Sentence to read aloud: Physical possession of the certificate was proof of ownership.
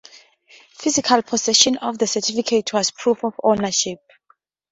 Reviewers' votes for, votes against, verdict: 2, 0, accepted